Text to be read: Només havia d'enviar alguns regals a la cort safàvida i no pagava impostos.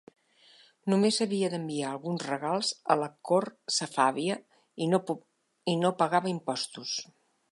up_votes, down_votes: 0, 2